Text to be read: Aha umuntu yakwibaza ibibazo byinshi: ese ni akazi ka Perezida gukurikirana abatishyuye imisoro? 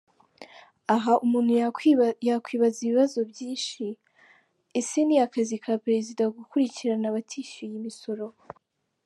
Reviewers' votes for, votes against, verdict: 0, 2, rejected